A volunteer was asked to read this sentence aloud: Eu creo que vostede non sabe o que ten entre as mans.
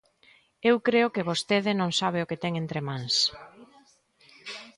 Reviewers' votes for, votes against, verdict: 0, 2, rejected